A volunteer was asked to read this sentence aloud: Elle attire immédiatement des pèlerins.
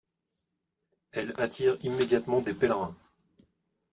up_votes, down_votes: 2, 0